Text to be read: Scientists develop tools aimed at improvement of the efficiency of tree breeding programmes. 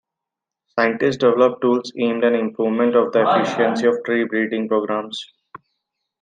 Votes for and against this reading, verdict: 0, 2, rejected